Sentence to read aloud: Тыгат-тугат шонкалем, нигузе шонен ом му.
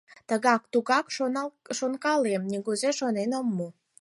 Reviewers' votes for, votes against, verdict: 0, 4, rejected